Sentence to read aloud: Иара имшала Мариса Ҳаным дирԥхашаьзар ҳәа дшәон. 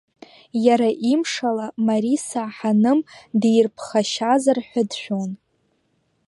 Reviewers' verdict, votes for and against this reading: accepted, 3, 1